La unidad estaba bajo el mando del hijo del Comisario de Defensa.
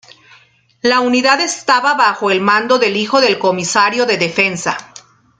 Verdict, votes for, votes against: accepted, 2, 0